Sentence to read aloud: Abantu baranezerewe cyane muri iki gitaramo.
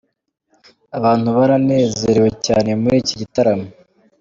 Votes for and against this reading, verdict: 2, 0, accepted